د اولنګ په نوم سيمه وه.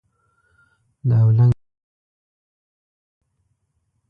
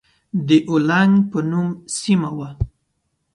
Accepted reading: second